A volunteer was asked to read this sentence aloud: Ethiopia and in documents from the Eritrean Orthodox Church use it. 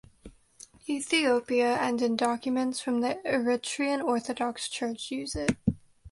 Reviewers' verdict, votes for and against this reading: accepted, 2, 0